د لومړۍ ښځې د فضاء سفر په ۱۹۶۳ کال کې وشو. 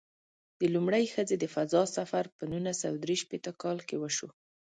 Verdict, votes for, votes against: rejected, 0, 2